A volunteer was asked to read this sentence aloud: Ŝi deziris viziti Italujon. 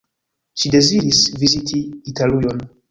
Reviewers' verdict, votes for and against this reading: rejected, 1, 2